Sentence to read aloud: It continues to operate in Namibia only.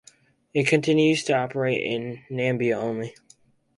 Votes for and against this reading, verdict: 2, 4, rejected